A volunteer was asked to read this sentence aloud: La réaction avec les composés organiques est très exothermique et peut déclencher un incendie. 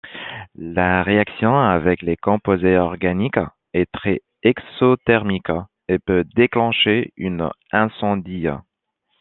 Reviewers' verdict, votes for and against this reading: rejected, 0, 2